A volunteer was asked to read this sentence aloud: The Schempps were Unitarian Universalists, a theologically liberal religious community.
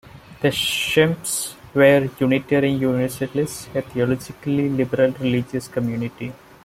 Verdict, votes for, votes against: rejected, 1, 2